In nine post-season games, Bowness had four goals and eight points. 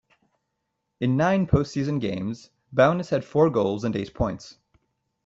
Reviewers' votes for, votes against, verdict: 2, 0, accepted